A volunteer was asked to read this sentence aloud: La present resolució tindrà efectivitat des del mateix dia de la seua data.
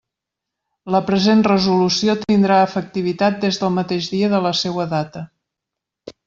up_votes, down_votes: 3, 0